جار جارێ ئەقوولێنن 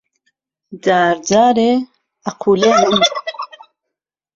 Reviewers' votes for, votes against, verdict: 2, 0, accepted